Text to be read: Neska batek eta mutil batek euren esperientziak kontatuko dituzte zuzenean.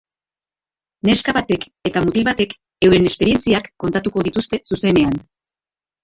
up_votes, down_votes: 2, 1